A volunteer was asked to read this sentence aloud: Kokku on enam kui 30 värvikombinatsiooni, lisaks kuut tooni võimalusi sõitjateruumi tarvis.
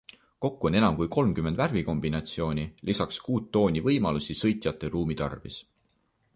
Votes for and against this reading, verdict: 0, 2, rejected